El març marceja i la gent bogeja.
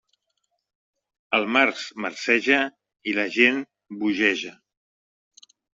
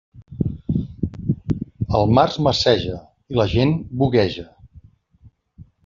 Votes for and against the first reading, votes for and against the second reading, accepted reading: 2, 1, 0, 2, first